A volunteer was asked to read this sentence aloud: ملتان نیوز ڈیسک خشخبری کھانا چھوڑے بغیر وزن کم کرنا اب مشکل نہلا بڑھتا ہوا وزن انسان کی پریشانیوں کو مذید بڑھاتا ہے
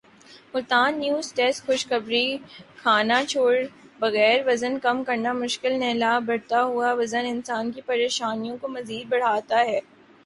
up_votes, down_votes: 0, 2